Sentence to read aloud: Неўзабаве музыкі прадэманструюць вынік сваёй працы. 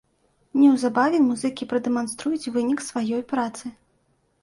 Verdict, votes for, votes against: accepted, 2, 0